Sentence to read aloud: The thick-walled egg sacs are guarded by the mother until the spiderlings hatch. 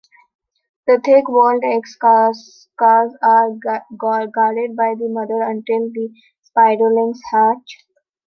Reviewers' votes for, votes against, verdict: 0, 2, rejected